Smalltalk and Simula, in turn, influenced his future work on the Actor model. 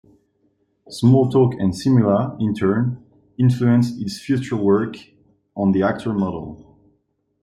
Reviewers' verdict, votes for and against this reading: accepted, 2, 0